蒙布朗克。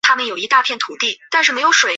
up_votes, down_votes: 0, 2